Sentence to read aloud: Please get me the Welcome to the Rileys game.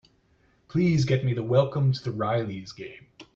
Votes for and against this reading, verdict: 2, 1, accepted